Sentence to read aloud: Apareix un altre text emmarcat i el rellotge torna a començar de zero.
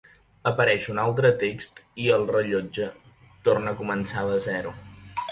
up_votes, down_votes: 1, 2